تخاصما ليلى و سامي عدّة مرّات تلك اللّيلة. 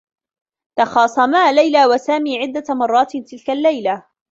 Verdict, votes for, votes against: rejected, 1, 2